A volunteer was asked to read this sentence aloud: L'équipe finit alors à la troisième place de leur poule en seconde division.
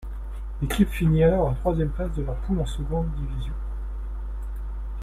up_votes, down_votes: 2, 0